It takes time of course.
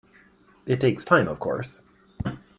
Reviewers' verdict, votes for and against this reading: accepted, 2, 0